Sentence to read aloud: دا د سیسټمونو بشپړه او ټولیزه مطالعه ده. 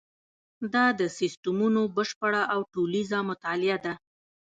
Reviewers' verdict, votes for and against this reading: rejected, 1, 2